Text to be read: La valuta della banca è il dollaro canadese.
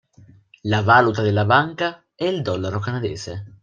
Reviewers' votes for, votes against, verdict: 1, 2, rejected